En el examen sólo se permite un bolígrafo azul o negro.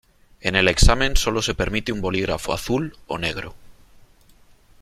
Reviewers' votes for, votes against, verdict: 3, 1, accepted